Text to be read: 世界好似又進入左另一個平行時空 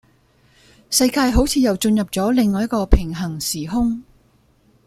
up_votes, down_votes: 1, 2